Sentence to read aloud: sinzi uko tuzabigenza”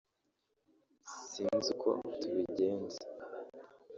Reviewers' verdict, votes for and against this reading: rejected, 0, 2